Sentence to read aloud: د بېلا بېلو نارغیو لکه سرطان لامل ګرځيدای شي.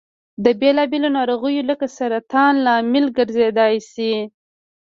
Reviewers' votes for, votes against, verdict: 2, 1, accepted